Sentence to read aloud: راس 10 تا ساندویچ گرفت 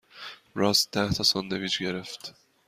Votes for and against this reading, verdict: 0, 2, rejected